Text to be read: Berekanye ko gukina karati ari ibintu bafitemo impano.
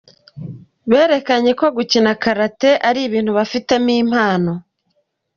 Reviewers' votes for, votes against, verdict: 3, 0, accepted